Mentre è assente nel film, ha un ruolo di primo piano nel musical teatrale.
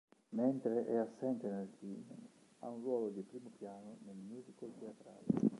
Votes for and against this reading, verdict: 1, 2, rejected